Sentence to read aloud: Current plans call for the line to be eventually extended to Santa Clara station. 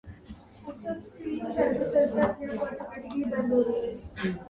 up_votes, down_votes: 0, 3